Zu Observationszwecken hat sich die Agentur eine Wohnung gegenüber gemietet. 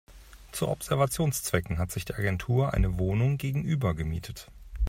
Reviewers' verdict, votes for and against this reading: accepted, 2, 0